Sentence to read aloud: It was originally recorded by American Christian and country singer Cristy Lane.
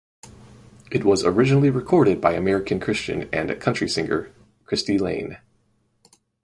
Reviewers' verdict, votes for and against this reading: rejected, 0, 2